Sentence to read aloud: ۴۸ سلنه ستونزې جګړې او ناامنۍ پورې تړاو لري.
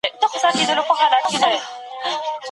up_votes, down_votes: 0, 2